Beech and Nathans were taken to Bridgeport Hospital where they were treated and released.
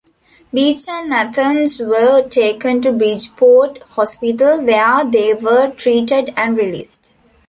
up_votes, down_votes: 1, 2